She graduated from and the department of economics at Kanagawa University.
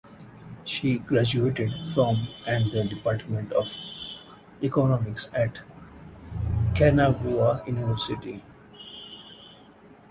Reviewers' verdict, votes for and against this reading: accepted, 4, 0